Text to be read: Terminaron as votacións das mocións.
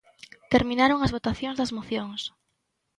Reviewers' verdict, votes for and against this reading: accepted, 2, 0